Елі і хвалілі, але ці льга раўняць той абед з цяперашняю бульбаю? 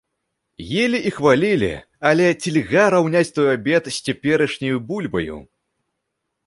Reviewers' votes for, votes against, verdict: 2, 0, accepted